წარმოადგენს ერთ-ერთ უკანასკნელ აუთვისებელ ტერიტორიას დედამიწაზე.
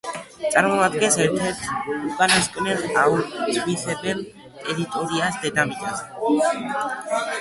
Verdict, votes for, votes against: rejected, 1, 2